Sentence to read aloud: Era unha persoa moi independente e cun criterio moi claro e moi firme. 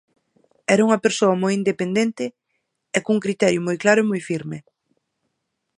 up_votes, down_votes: 4, 0